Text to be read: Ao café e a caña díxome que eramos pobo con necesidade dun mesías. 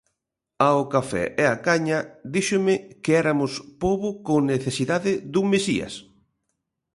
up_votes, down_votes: 0, 2